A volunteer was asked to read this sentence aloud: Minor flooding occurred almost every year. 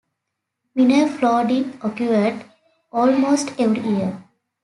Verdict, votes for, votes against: rejected, 1, 2